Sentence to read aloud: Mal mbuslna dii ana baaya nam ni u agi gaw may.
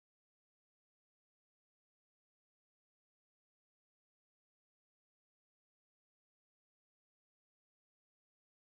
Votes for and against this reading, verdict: 0, 2, rejected